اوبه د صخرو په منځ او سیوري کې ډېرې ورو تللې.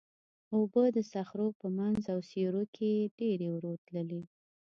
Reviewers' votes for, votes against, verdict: 2, 0, accepted